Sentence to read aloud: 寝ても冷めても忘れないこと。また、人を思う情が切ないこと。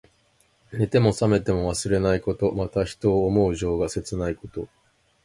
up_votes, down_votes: 2, 0